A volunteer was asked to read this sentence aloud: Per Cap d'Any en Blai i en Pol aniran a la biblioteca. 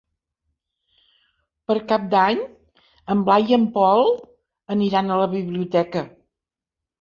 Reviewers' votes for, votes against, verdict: 3, 1, accepted